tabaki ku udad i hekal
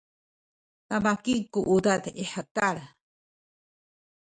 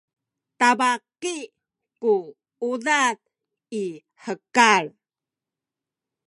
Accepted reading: second